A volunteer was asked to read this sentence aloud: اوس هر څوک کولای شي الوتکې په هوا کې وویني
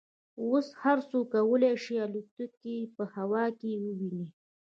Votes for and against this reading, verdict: 3, 1, accepted